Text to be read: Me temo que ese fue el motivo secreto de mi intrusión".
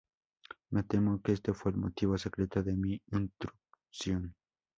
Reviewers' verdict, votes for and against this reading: rejected, 0, 2